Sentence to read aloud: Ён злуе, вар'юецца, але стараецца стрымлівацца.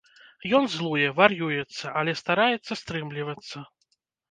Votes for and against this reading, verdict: 1, 2, rejected